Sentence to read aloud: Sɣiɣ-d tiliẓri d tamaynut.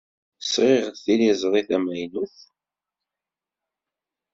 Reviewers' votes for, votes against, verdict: 2, 0, accepted